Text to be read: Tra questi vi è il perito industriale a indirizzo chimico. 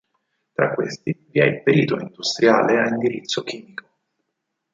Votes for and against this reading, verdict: 4, 0, accepted